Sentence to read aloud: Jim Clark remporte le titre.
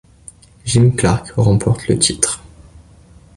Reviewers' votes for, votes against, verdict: 2, 1, accepted